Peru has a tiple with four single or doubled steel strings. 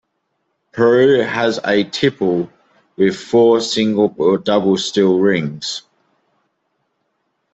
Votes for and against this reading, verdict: 0, 2, rejected